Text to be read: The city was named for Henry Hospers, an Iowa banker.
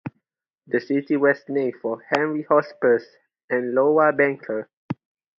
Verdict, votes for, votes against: rejected, 0, 2